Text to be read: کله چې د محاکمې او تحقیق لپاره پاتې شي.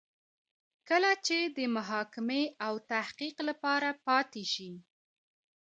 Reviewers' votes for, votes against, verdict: 2, 1, accepted